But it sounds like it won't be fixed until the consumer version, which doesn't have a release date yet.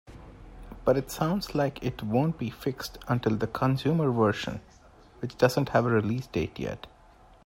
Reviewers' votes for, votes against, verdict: 2, 0, accepted